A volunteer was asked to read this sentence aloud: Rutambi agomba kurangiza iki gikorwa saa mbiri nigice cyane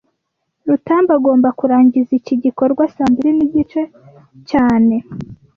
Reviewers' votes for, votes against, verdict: 2, 0, accepted